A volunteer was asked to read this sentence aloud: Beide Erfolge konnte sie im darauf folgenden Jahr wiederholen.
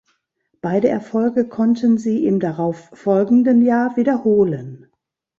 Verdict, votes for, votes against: rejected, 1, 2